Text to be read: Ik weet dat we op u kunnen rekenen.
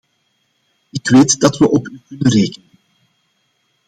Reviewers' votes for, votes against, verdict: 0, 2, rejected